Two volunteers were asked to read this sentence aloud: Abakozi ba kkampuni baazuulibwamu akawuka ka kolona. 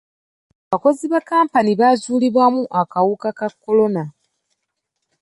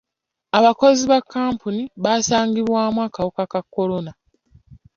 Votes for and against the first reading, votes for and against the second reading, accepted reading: 2, 1, 0, 2, first